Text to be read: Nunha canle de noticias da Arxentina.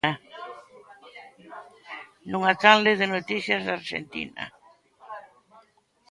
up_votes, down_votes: 0, 3